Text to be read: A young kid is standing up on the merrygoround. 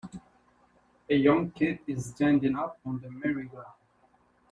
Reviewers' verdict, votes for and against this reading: accepted, 2, 0